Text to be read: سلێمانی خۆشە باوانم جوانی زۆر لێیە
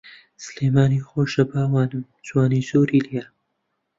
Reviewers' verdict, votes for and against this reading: rejected, 1, 2